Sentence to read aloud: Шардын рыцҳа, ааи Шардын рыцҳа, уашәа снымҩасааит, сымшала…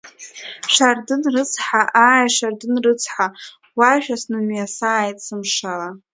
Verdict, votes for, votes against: accepted, 2, 1